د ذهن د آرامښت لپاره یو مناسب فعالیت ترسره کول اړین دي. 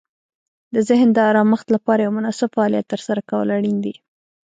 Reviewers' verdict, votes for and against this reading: rejected, 0, 2